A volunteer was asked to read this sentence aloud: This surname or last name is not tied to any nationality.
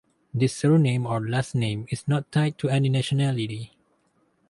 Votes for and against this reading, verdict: 2, 0, accepted